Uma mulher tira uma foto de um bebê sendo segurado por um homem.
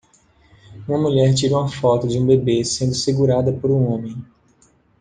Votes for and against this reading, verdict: 1, 2, rejected